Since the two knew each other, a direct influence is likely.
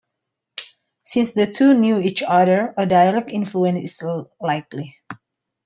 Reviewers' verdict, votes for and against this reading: rejected, 0, 2